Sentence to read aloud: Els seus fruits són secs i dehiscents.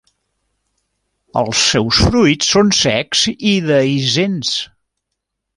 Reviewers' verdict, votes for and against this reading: rejected, 1, 2